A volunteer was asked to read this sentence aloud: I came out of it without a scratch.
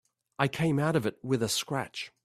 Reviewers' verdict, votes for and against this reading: rejected, 0, 3